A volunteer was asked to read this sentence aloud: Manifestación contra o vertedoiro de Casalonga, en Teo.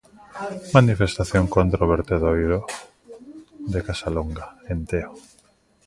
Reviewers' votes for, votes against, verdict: 2, 0, accepted